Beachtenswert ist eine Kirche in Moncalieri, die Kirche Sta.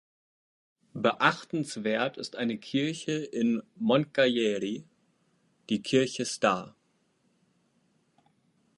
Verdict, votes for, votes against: accepted, 2, 0